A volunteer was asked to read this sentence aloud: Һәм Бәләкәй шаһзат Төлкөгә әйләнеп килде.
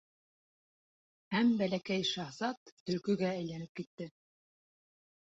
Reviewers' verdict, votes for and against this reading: rejected, 1, 2